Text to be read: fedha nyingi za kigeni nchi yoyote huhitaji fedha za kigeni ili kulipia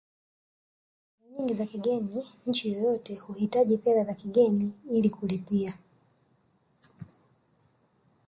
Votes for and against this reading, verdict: 0, 2, rejected